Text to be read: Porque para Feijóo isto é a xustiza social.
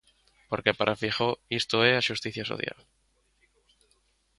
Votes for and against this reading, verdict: 0, 2, rejected